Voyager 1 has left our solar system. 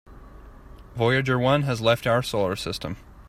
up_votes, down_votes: 0, 2